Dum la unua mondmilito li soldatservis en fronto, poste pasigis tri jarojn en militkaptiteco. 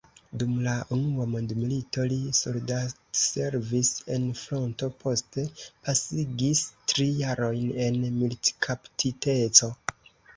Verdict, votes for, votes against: accepted, 2, 0